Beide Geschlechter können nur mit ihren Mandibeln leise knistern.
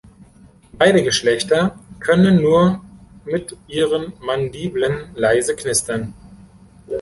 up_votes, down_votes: 1, 3